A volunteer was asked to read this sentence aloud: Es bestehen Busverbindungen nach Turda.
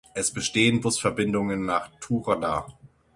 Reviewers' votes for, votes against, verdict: 6, 0, accepted